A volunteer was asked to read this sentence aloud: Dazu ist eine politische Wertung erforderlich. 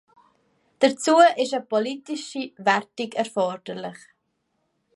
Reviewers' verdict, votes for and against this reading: accepted, 2, 1